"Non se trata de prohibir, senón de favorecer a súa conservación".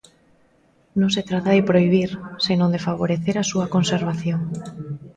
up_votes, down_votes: 2, 0